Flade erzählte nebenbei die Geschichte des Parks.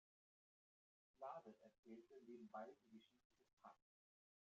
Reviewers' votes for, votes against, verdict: 0, 2, rejected